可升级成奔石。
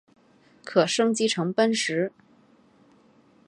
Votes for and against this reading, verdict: 2, 0, accepted